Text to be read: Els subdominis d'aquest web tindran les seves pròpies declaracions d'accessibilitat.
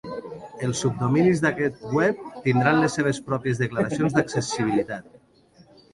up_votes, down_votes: 2, 1